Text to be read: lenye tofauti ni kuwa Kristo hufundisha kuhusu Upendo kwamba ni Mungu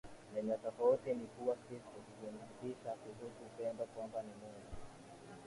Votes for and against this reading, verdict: 2, 0, accepted